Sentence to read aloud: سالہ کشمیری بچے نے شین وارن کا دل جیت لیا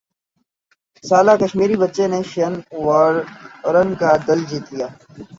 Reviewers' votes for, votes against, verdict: 7, 4, accepted